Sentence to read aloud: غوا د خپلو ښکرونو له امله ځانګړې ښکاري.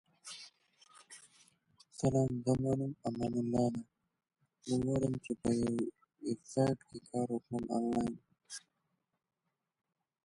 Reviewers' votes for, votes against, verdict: 1, 2, rejected